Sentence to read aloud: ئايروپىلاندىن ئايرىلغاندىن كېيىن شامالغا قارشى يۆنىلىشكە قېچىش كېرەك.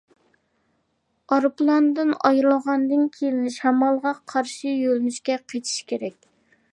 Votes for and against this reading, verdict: 2, 0, accepted